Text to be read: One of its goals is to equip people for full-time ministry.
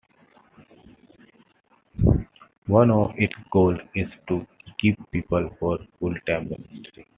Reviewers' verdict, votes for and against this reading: rejected, 1, 2